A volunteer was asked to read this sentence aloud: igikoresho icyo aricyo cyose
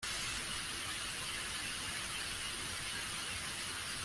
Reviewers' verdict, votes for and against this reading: rejected, 0, 2